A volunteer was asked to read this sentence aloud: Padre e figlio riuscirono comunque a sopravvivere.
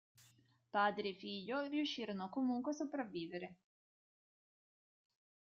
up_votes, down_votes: 2, 1